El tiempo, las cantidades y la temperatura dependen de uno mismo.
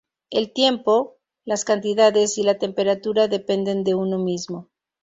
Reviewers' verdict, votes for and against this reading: accepted, 2, 0